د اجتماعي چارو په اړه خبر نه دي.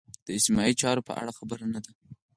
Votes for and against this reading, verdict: 4, 2, accepted